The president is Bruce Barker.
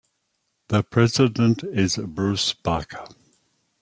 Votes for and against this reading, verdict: 2, 0, accepted